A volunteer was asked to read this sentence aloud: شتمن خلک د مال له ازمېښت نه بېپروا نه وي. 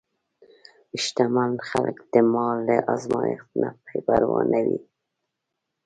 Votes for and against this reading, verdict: 1, 2, rejected